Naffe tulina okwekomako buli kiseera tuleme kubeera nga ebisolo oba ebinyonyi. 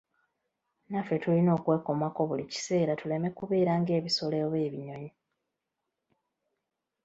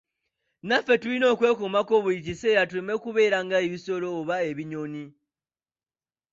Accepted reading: second